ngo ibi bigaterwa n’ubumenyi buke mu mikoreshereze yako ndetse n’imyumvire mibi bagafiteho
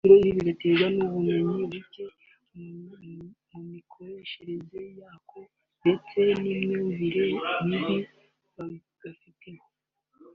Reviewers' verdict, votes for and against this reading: accepted, 2, 0